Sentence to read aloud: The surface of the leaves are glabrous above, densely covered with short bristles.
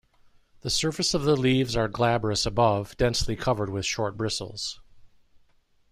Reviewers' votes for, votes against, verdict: 2, 0, accepted